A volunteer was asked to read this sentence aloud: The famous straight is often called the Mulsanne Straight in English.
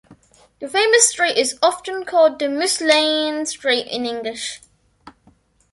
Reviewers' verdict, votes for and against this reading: accepted, 2, 1